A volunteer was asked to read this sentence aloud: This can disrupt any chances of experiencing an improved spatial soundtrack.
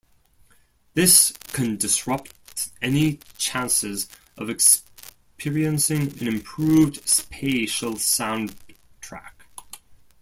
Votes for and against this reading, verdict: 1, 2, rejected